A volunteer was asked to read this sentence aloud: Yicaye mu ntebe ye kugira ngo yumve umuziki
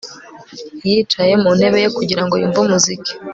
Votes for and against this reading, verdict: 3, 0, accepted